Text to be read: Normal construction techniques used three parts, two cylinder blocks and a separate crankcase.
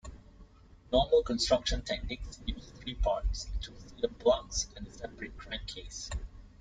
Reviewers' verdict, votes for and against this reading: rejected, 1, 2